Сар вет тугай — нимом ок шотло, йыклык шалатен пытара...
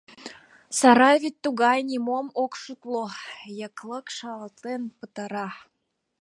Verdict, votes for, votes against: rejected, 1, 2